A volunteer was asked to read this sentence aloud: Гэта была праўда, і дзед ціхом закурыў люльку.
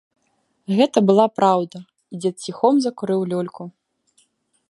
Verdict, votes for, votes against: accepted, 3, 0